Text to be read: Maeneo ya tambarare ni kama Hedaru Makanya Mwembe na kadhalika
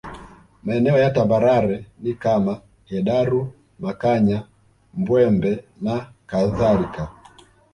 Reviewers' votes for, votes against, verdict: 1, 2, rejected